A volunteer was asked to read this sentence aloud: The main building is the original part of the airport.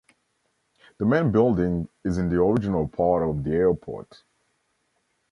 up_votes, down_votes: 0, 2